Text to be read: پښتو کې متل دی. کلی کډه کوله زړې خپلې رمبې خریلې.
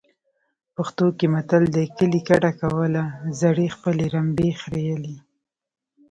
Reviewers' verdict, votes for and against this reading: rejected, 1, 2